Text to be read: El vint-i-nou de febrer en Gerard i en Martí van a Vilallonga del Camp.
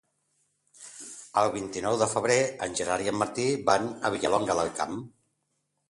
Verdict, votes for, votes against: accepted, 2, 0